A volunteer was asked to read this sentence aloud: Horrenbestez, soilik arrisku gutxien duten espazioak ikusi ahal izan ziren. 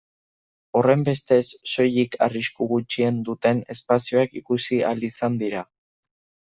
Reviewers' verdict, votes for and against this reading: rejected, 0, 2